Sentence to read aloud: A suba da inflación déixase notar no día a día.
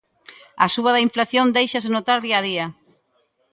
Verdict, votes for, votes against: rejected, 0, 2